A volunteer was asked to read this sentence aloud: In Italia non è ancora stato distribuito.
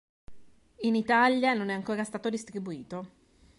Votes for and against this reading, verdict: 2, 0, accepted